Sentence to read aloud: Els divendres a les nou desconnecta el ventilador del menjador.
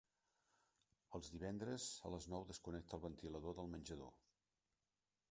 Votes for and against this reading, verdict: 2, 0, accepted